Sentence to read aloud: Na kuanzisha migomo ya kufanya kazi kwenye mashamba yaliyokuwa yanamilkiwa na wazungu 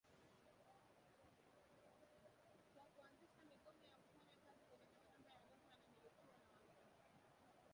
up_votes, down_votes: 0, 3